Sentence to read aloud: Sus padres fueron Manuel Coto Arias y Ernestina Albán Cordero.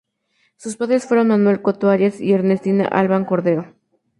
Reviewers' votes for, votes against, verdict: 0, 2, rejected